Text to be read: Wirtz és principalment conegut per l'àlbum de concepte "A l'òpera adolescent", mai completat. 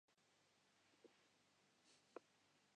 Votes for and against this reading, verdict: 0, 2, rejected